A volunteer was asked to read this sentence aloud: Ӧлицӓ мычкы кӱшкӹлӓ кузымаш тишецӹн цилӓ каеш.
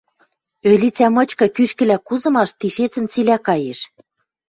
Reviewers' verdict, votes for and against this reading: accepted, 2, 0